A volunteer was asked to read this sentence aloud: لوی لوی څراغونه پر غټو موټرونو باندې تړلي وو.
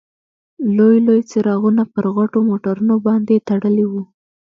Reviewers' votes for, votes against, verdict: 1, 2, rejected